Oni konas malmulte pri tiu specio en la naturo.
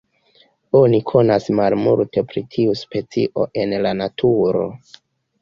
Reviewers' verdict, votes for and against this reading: accepted, 2, 1